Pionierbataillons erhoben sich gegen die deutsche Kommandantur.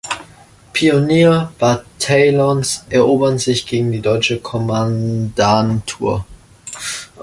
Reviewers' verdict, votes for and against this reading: rejected, 0, 2